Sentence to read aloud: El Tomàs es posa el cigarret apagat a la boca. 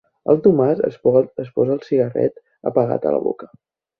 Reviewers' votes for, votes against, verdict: 0, 2, rejected